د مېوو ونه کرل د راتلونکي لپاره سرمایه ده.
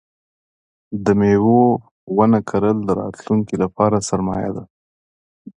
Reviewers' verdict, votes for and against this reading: accepted, 2, 0